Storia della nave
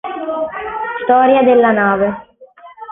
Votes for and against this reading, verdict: 3, 1, accepted